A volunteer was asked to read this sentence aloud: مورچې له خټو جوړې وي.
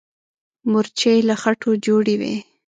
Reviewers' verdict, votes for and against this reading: accepted, 2, 0